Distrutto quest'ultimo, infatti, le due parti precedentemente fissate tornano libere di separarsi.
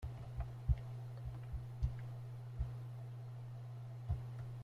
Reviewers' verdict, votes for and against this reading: rejected, 0, 2